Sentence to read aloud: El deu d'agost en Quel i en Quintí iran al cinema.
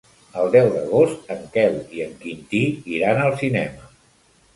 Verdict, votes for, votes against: accepted, 3, 1